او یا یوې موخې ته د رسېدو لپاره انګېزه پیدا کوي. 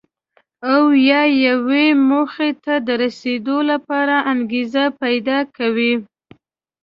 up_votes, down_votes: 2, 0